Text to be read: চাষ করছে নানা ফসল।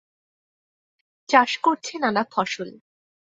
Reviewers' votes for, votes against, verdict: 8, 0, accepted